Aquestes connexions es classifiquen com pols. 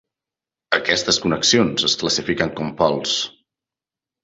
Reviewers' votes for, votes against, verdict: 3, 0, accepted